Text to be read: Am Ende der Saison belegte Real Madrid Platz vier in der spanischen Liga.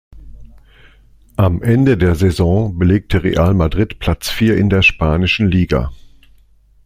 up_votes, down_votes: 3, 0